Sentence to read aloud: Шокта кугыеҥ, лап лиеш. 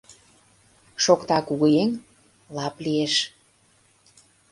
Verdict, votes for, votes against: accepted, 2, 0